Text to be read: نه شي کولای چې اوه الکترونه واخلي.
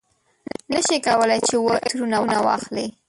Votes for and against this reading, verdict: 0, 2, rejected